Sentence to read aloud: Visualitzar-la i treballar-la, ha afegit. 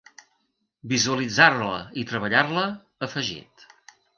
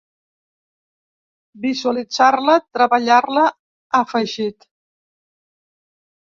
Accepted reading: first